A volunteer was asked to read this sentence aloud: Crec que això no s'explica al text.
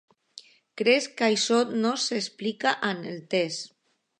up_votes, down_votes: 1, 2